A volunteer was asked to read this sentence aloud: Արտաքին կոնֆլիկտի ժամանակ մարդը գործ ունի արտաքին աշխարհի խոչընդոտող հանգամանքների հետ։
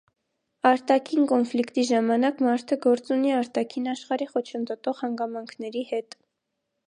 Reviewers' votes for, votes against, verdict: 2, 0, accepted